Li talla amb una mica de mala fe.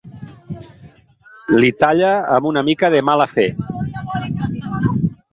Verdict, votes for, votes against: accepted, 4, 0